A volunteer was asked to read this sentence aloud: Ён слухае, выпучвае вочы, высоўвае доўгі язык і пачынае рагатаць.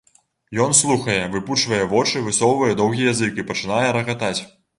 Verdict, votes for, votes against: accepted, 2, 0